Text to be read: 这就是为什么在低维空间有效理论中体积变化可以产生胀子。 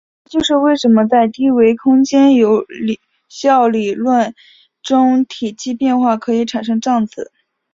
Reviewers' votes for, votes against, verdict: 3, 2, accepted